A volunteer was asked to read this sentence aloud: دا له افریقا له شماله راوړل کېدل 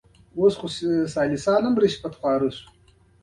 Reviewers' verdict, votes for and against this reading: accepted, 2, 1